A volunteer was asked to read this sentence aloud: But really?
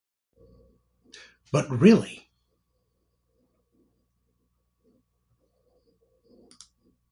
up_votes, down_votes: 2, 0